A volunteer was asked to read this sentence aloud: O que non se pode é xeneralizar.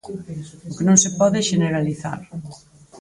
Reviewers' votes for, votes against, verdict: 4, 0, accepted